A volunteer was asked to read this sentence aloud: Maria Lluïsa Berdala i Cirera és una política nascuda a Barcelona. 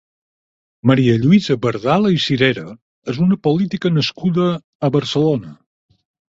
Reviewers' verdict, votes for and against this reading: accepted, 8, 0